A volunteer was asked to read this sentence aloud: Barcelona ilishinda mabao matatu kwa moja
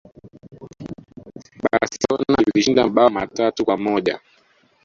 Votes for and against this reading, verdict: 1, 2, rejected